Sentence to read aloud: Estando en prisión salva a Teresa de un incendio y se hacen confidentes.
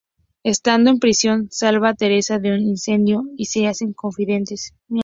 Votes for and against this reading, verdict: 2, 0, accepted